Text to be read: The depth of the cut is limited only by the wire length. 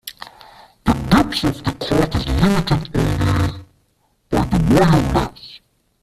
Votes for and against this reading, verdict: 0, 2, rejected